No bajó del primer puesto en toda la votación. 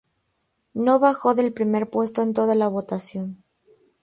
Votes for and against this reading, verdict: 2, 0, accepted